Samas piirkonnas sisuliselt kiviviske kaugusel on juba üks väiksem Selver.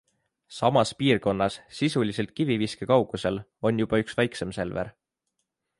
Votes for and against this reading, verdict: 3, 0, accepted